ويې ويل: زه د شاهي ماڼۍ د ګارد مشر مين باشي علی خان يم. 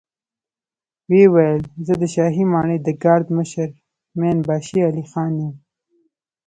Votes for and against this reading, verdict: 1, 2, rejected